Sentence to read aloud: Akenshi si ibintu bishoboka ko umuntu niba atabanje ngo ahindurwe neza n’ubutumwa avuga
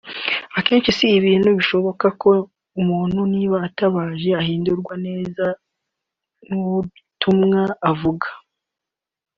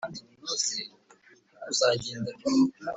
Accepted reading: first